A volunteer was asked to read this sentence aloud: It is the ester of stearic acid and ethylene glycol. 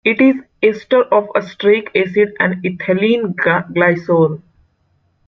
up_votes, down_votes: 1, 2